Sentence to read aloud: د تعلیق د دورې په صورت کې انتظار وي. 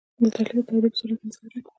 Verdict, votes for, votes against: accepted, 2, 0